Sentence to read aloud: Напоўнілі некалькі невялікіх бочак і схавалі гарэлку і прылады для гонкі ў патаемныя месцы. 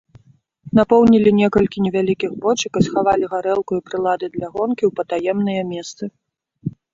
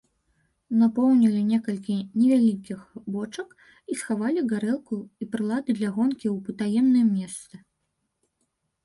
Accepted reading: first